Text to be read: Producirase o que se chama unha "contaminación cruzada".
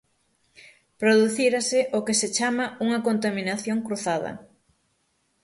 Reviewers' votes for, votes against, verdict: 0, 6, rejected